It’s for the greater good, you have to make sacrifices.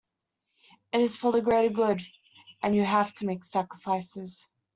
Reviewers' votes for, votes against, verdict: 0, 2, rejected